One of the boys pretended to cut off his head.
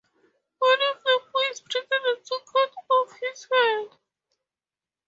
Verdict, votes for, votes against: rejected, 0, 2